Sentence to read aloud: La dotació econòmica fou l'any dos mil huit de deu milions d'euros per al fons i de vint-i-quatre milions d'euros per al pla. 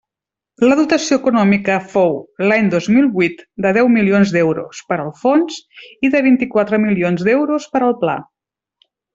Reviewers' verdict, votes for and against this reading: accepted, 2, 0